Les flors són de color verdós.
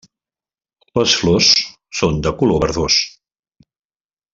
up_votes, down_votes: 2, 0